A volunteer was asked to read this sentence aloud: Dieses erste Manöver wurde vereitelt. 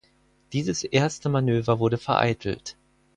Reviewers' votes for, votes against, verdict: 4, 0, accepted